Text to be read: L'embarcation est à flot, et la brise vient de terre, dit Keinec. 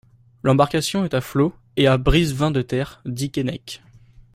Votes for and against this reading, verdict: 0, 2, rejected